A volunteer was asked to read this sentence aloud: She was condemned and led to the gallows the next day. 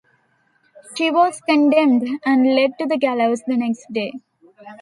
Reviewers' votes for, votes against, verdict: 2, 1, accepted